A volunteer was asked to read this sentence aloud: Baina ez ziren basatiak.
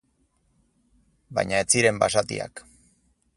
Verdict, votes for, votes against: accepted, 4, 0